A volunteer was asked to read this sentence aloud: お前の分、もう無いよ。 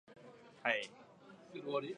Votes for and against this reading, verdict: 0, 2, rejected